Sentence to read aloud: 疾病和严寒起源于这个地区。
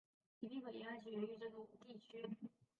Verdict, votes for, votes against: rejected, 0, 2